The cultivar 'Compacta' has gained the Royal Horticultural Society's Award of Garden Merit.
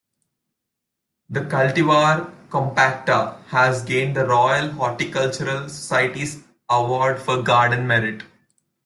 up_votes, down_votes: 0, 2